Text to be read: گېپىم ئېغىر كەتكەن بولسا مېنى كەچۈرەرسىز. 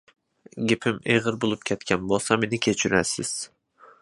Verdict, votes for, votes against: rejected, 0, 2